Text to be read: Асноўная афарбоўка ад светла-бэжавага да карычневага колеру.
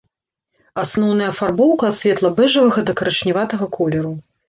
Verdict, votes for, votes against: rejected, 0, 2